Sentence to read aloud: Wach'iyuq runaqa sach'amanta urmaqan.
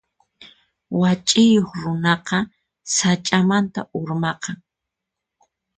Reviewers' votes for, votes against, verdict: 4, 0, accepted